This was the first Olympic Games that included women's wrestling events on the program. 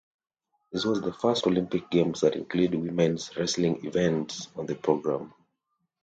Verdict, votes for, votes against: accepted, 2, 0